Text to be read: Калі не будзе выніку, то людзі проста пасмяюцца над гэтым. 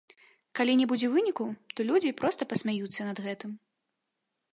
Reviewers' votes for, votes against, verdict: 2, 0, accepted